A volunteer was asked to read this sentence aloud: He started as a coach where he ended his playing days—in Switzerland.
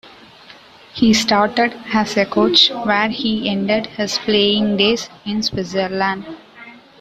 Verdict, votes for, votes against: accepted, 2, 0